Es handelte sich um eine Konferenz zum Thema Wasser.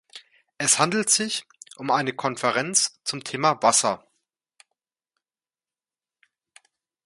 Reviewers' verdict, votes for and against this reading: rejected, 1, 2